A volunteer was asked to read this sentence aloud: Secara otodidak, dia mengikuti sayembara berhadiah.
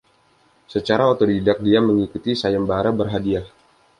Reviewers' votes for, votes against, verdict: 2, 0, accepted